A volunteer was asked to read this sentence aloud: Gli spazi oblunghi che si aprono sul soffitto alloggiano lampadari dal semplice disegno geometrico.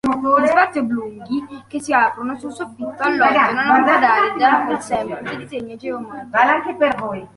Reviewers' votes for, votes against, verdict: 0, 2, rejected